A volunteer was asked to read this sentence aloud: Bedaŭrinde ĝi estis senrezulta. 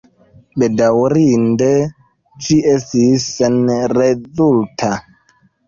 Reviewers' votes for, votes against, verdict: 1, 2, rejected